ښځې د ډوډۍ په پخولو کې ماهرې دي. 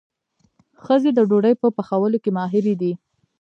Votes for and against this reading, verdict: 1, 2, rejected